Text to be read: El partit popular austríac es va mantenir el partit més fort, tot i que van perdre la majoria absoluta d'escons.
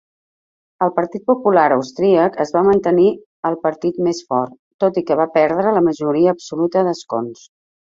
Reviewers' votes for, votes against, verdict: 0, 2, rejected